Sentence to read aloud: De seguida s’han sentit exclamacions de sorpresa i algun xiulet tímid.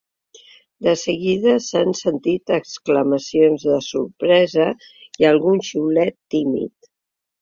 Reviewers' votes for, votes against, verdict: 3, 0, accepted